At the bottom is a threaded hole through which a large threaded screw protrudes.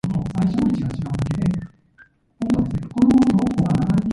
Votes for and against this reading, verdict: 0, 2, rejected